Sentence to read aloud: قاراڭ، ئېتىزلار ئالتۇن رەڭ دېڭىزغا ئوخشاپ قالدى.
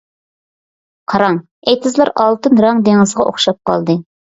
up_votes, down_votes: 2, 0